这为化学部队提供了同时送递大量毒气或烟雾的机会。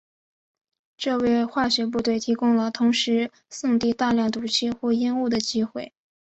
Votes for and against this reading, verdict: 2, 0, accepted